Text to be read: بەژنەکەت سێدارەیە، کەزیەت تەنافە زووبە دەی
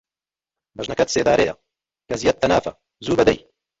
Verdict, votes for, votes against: rejected, 0, 2